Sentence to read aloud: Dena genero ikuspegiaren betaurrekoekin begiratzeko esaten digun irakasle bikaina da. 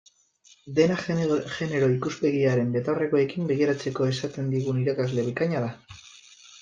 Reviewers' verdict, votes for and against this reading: accepted, 4, 2